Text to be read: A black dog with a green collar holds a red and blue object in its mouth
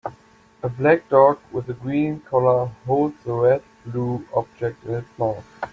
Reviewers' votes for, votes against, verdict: 1, 2, rejected